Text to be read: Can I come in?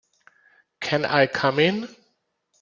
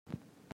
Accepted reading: first